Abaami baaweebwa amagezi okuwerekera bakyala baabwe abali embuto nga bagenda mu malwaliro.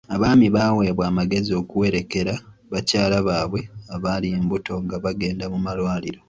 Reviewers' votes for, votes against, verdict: 2, 0, accepted